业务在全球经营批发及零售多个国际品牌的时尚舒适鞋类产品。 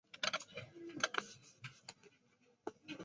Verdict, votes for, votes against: rejected, 0, 2